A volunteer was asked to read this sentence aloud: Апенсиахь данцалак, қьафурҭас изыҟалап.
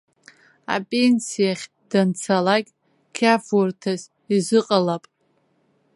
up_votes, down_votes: 0, 2